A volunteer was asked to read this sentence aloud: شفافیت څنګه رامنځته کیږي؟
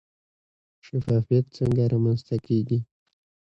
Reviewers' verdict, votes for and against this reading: accepted, 2, 0